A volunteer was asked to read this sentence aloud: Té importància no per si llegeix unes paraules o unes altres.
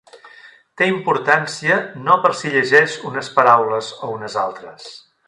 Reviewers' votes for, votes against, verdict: 4, 0, accepted